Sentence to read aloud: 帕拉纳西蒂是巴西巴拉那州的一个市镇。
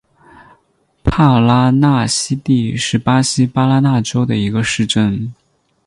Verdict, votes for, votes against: accepted, 8, 2